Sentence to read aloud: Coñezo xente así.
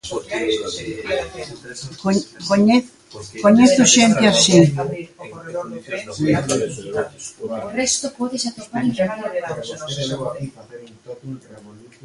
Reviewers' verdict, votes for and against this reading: rejected, 0, 2